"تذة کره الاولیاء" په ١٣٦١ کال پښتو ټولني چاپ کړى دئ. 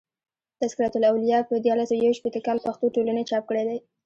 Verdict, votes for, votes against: rejected, 0, 2